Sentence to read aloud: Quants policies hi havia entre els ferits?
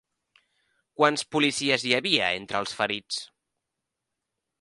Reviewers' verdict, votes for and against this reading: accepted, 3, 0